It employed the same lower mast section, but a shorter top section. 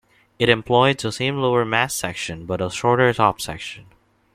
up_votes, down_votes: 2, 0